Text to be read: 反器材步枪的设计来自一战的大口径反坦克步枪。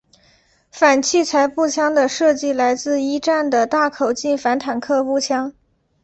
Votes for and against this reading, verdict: 2, 0, accepted